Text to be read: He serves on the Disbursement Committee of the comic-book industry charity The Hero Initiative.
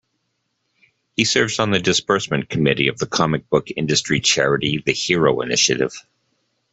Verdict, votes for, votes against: accepted, 2, 1